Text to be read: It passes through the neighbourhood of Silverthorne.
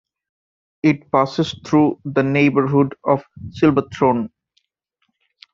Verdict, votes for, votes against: accepted, 2, 0